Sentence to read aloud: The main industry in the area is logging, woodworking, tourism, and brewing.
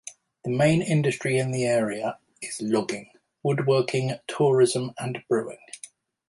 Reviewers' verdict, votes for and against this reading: accepted, 2, 0